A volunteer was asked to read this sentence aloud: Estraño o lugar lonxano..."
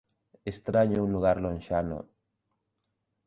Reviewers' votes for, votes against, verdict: 1, 2, rejected